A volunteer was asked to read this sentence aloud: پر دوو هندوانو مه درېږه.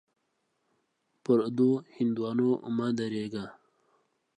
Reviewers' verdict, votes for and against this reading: accepted, 2, 0